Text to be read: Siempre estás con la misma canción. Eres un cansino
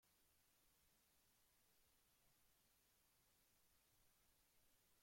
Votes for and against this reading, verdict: 0, 2, rejected